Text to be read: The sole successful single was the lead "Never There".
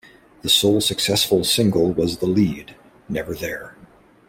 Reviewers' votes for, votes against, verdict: 2, 0, accepted